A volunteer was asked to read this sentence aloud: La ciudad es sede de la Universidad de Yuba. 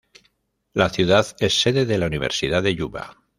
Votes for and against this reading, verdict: 2, 1, accepted